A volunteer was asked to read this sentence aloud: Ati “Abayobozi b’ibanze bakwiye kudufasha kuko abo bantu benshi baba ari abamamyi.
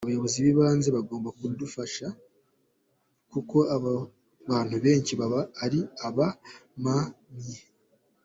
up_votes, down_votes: 1, 2